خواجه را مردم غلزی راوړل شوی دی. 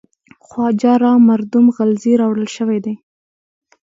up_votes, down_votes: 2, 1